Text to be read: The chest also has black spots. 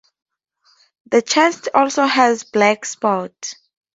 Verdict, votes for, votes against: accepted, 4, 0